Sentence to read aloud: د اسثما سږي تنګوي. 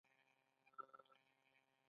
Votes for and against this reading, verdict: 2, 1, accepted